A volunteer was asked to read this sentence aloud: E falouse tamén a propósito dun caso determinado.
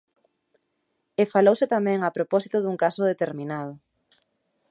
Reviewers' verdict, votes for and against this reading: rejected, 0, 2